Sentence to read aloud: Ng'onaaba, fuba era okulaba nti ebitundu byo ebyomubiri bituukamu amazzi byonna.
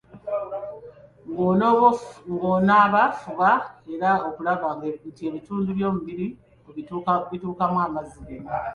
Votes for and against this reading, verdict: 0, 2, rejected